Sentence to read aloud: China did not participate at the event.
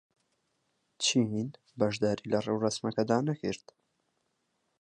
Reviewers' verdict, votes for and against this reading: rejected, 0, 4